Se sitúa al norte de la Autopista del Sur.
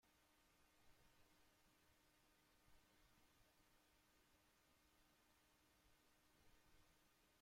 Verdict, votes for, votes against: rejected, 0, 2